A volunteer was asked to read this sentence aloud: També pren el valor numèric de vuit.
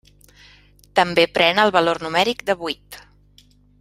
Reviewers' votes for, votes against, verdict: 3, 0, accepted